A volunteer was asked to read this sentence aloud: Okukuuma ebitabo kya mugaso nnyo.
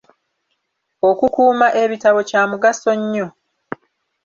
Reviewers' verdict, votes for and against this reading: accepted, 2, 0